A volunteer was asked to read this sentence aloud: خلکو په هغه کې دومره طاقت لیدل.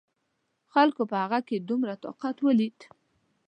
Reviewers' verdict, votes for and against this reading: rejected, 1, 2